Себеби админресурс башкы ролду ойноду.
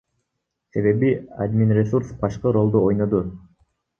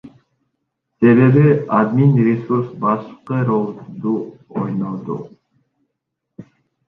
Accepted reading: second